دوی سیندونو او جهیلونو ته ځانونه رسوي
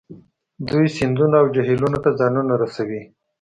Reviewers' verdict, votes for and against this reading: accepted, 2, 0